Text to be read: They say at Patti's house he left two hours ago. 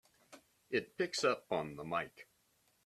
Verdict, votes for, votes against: rejected, 0, 3